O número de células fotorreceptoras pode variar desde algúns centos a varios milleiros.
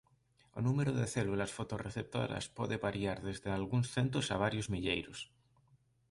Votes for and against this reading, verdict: 2, 0, accepted